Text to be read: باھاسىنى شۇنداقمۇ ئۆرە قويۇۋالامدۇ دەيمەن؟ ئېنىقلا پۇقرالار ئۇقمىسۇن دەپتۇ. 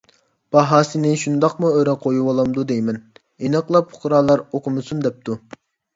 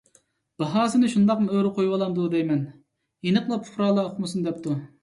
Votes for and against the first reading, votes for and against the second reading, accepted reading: 1, 2, 2, 0, second